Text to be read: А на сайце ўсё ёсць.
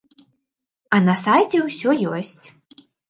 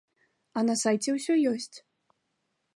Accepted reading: first